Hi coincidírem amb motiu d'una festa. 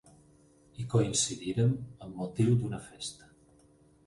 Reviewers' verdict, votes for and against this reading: rejected, 2, 4